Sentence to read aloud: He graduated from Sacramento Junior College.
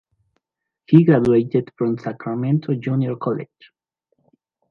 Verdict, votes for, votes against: rejected, 1, 2